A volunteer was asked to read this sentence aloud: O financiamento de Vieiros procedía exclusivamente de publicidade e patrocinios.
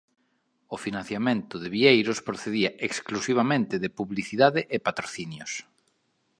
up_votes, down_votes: 2, 0